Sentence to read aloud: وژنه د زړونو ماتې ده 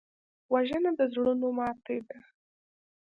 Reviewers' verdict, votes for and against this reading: accepted, 2, 0